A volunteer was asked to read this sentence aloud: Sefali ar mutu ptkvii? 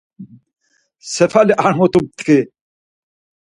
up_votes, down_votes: 0, 4